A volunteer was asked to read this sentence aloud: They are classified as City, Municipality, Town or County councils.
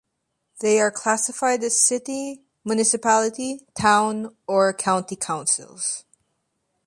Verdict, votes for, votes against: accepted, 2, 0